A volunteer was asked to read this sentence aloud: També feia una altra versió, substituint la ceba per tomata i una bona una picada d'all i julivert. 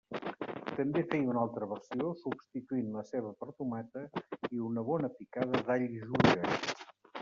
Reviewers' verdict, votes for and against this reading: rejected, 0, 2